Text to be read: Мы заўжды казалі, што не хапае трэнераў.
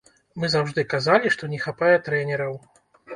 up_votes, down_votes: 2, 0